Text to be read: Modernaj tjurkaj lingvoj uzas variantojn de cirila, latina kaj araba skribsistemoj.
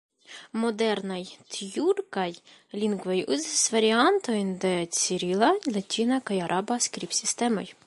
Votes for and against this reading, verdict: 3, 2, accepted